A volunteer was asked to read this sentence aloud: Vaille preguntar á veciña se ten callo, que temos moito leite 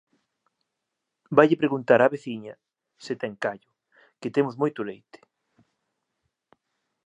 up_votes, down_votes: 2, 0